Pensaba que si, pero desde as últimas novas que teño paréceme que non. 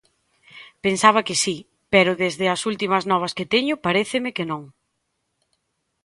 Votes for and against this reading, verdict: 4, 0, accepted